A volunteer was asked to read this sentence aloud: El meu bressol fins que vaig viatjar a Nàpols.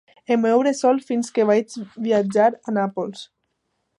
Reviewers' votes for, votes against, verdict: 2, 0, accepted